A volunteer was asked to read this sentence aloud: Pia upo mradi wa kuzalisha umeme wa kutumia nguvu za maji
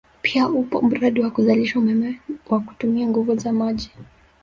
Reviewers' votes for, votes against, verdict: 0, 2, rejected